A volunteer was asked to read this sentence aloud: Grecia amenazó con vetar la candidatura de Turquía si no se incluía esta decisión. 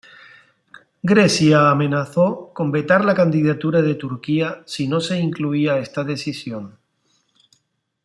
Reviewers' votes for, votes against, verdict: 2, 0, accepted